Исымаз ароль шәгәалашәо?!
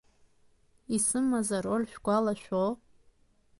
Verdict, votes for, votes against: accepted, 2, 0